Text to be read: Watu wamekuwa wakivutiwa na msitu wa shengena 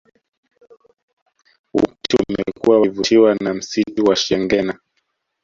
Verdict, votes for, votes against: rejected, 0, 2